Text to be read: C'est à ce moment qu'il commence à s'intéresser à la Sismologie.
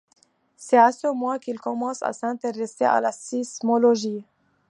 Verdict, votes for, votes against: rejected, 0, 2